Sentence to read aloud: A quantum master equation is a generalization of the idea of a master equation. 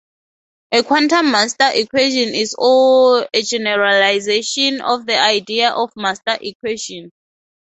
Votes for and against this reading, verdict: 2, 0, accepted